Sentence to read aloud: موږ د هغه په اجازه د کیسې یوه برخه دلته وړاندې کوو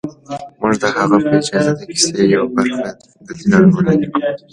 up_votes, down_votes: 2, 1